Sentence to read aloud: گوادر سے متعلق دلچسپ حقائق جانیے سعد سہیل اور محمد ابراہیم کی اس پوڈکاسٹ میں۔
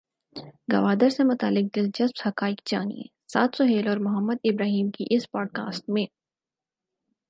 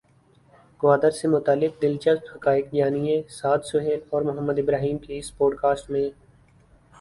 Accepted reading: second